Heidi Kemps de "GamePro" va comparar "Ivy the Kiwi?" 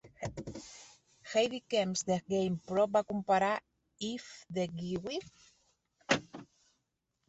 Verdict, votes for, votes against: rejected, 1, 2